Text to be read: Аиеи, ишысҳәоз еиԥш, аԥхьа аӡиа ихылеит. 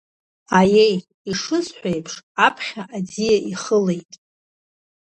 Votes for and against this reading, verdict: 2, 0, accepted